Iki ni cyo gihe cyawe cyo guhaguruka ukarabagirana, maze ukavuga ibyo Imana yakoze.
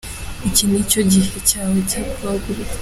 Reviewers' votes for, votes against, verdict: 2, 3, rejected